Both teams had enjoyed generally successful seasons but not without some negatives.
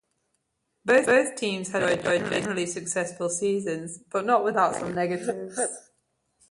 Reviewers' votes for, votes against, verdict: 1, 2, rejected